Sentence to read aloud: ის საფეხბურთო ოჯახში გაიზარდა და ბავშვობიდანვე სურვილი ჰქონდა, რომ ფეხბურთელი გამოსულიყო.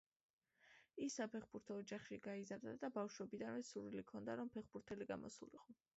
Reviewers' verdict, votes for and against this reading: accepted, 2, 0